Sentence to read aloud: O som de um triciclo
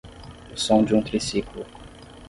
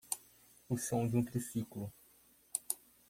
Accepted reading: second